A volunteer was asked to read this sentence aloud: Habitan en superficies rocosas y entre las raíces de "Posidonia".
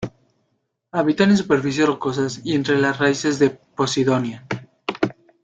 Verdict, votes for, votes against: rejected, 1, 2